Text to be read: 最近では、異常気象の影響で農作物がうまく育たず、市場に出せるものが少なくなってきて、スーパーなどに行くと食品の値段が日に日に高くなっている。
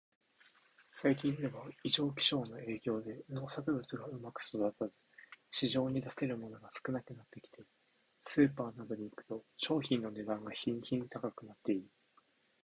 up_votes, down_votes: 2, 1